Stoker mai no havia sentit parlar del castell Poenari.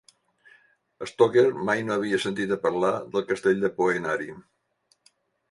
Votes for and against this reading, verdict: 0, 2, rejected